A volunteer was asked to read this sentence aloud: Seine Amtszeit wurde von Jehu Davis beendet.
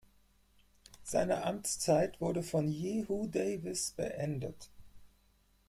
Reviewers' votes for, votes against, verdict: 2, 4, rejected